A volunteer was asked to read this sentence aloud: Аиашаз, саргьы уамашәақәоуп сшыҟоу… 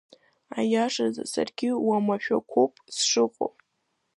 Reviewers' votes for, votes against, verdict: 2, 0, accepted